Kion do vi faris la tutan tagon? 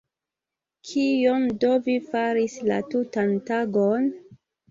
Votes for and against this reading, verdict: 2, 0, accepted